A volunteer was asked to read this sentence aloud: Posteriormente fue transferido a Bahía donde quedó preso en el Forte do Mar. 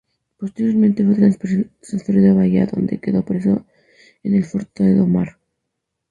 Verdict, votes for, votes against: rejected, 2, 2